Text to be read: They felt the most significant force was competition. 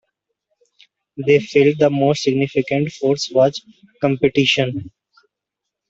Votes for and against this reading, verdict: 2, 0, accepted